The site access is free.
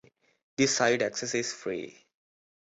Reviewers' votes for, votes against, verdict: 2, 1, accepted